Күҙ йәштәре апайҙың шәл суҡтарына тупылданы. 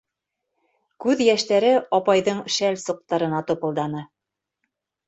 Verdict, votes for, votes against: accepted, 2, 0